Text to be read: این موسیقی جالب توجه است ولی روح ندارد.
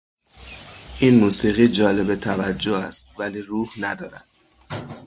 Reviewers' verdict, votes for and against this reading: rejected, 3, 3